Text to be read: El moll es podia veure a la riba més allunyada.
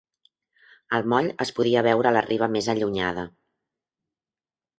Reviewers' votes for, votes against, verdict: 3, 0, accepted